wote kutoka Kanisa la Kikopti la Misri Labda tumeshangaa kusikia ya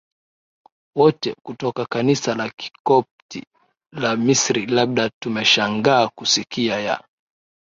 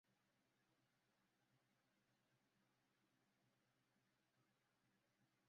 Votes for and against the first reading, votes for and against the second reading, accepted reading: 3, 1, 0, 2, first